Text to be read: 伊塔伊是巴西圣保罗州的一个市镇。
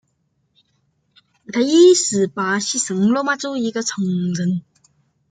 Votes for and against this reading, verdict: 1, 2, rejected